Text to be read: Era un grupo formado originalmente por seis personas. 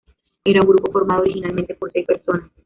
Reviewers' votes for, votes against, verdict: 2, 0, accepted